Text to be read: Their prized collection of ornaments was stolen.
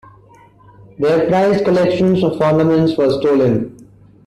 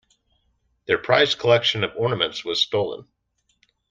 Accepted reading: second